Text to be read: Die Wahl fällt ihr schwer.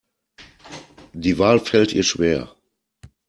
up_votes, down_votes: 2, 0